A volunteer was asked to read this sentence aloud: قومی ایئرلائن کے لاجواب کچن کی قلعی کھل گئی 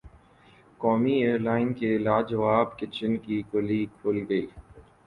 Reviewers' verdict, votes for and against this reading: accepted, 2, 0